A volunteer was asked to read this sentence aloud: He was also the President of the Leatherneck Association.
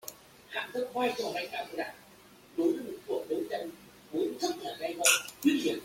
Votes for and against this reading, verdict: 0, 2, rejected